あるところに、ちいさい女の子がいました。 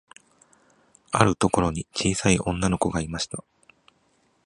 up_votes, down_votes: 2, 0